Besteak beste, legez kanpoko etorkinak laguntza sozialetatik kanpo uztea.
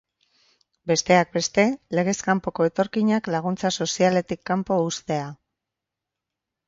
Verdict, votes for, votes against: rejected, 0, 2